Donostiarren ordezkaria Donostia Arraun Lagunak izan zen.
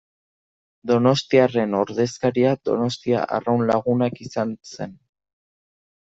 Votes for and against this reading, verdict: 2, 0, accepted